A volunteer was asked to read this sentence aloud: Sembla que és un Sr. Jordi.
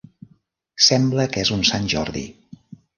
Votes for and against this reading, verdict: 1, 2, rejected